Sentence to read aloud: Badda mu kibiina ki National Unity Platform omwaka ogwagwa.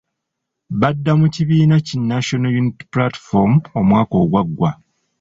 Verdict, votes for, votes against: accepted, 2, 0